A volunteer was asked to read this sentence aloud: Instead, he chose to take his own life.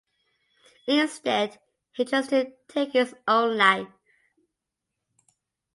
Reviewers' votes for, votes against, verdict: 2, 1, accepted